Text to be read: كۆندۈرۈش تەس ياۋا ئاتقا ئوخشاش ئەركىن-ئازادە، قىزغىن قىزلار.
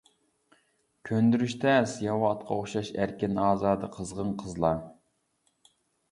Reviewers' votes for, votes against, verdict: 2, 1, accepted